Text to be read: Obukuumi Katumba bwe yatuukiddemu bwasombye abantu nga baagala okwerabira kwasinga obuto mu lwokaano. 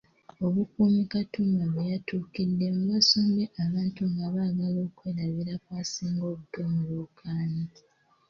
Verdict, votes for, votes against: accepted, 2, 1